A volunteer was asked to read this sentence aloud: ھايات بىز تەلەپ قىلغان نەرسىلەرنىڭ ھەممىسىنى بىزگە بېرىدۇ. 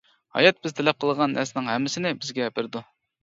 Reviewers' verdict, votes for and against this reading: rejected, 0, 2